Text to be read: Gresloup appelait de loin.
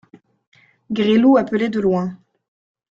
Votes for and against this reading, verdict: 2, 0, accepted